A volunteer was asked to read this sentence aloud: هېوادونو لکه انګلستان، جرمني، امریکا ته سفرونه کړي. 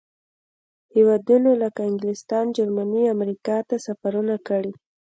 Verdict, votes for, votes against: accepted, 2, 0